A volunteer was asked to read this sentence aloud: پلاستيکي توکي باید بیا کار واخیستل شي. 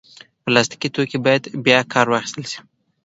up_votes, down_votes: 2, 0